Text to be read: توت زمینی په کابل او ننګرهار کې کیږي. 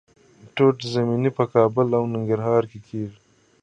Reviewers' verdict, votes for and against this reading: accepted, 2, 1